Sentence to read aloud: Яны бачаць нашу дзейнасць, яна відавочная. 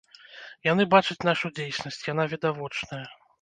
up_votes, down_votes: 1, 2